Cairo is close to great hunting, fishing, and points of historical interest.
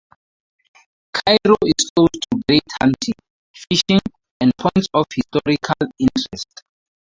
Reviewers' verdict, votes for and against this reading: rejected, 0, 2